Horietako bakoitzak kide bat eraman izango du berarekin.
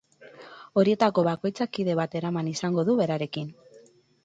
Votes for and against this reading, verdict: 8, 0, accepted